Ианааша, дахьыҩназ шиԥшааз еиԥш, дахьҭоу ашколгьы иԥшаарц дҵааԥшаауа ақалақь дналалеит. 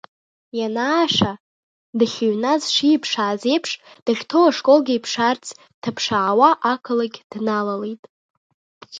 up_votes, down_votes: 1, 2